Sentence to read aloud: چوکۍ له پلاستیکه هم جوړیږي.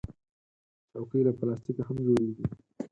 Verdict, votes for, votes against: rejected, 2, 6